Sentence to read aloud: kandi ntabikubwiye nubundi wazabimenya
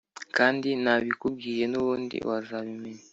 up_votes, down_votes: 2, 0